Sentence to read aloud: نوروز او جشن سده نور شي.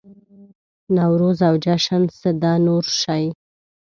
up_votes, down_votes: 1, 2